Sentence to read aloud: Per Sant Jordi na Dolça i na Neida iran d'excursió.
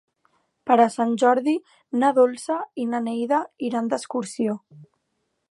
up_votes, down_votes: 0, 2